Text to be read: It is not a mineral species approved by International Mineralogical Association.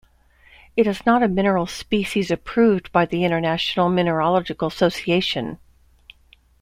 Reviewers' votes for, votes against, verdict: 2, 0, accepted